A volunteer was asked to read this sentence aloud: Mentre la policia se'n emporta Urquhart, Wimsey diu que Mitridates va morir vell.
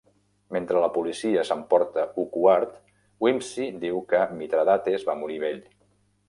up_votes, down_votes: 0, 2